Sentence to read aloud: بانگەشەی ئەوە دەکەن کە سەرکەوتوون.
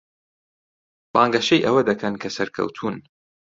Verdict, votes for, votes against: accepted, 2, 0